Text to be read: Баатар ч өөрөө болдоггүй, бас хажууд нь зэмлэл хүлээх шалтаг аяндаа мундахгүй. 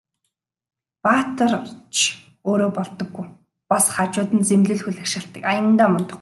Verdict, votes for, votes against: rejected, 2, 2